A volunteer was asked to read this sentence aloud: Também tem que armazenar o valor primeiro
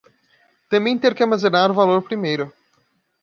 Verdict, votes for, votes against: rejected, 1, 2